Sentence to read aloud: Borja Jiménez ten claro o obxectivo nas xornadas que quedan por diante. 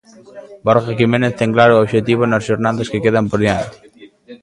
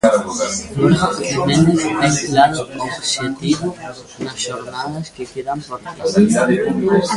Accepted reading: first